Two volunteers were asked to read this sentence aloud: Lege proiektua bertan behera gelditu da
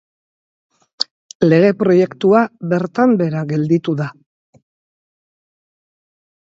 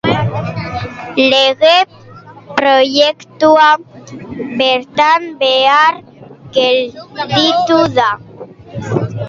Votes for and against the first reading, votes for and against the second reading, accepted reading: 2, 0, 0, 2, first